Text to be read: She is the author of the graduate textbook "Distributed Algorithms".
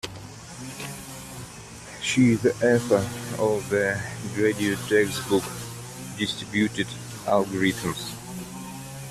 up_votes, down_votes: 1, 2